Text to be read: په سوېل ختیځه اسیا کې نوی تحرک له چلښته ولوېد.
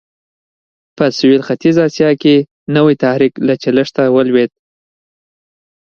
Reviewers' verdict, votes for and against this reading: accepted, 2, 0